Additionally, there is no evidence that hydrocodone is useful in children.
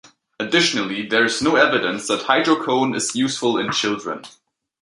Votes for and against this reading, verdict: 1, 2, rejected